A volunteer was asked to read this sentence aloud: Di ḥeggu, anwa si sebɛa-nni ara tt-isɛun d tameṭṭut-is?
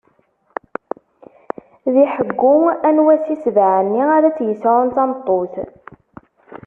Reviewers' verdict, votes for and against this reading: rejected, 0, 2